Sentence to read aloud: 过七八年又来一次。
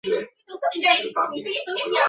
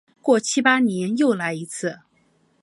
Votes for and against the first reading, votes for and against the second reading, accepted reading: 0, 2, 3, 0, second